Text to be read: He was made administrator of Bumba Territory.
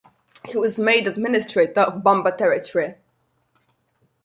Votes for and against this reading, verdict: 2, 0, accepted